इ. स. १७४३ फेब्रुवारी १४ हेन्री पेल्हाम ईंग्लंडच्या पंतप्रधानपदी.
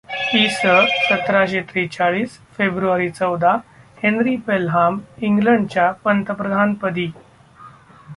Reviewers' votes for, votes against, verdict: 0, 2, rejected